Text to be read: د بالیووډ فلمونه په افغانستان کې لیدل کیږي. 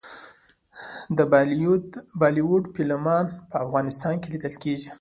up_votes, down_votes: 2, 1